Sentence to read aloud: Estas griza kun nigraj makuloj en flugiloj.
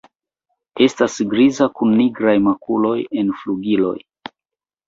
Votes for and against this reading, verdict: 2, 1, accepted